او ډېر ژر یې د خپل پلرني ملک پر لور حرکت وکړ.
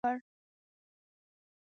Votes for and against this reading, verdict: 0, 2, rejected